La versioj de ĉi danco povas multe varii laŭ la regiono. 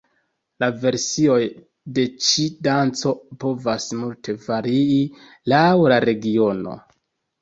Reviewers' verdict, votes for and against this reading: rejected, 0, 2